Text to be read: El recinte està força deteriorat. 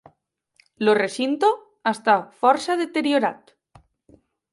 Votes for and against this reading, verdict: 0, 2, rejected